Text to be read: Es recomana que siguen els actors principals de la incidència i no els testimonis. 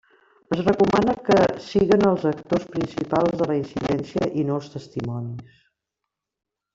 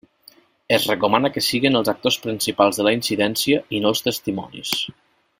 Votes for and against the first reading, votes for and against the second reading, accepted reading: 1, 2, 2, 0, second